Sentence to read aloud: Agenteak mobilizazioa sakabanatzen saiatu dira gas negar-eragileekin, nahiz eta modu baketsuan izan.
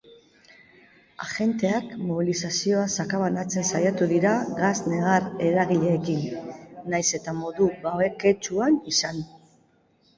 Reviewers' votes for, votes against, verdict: 1, 2, rejected